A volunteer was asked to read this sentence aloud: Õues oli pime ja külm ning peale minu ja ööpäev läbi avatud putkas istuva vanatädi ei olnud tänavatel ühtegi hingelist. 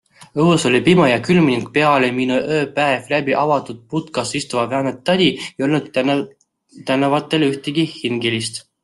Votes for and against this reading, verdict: 0, 2, rejected